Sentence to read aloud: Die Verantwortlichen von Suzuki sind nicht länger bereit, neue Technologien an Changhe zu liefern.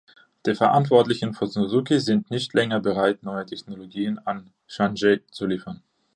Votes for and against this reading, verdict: 2, 1, accepted